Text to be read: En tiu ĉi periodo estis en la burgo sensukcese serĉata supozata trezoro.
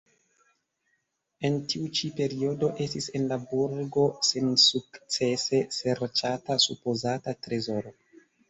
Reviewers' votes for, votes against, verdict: 2, 0, accepted